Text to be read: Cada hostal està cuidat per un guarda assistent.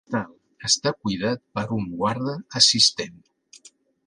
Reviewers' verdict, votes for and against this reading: rejected, 0, 2